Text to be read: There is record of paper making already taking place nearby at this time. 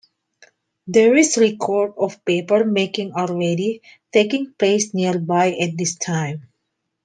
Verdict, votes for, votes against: accepted, 2, 1